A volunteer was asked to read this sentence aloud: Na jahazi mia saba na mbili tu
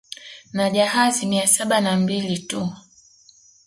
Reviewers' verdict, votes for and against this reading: accepted, 2, 0